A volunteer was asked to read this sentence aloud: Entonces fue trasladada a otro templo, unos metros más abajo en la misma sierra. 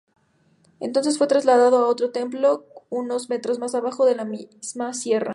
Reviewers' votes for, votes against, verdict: 0, 2, rejected